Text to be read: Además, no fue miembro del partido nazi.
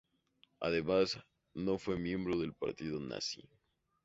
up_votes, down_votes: 2, 0